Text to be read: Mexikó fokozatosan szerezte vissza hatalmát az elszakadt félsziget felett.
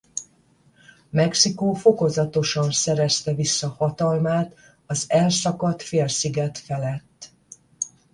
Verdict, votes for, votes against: accepted, 10, 0